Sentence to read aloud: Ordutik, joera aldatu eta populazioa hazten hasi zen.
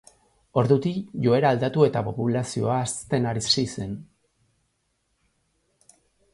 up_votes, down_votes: 0, 2